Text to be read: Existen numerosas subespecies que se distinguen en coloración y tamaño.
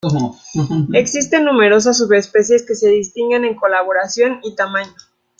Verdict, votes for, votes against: rejected, 1, 2